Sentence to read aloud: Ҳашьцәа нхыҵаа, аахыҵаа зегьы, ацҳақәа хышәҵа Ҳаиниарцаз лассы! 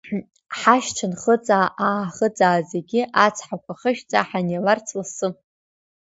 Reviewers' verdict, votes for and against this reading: rejected, 1, 2